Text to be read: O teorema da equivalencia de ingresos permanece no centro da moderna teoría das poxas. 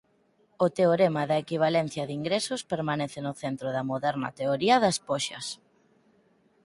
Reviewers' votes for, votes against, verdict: 4, 0, accepted